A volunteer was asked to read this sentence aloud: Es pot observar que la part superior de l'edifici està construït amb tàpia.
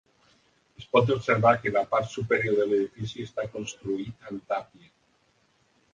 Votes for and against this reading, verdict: 1, 2, rejected